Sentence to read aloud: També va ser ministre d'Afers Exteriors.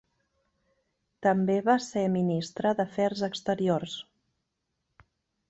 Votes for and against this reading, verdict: 2, 0, accepted